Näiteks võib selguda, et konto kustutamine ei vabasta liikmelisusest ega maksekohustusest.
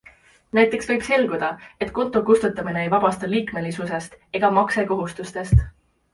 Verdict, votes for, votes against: accepted, 2, 0